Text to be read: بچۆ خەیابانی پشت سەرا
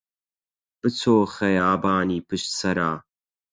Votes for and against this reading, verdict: 4, 0, accepted